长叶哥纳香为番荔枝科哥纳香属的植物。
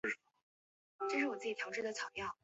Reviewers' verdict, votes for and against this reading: rejected, 0, 2